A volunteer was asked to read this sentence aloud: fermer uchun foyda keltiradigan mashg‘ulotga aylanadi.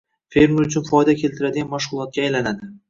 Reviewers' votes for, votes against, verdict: 1, 2, rejected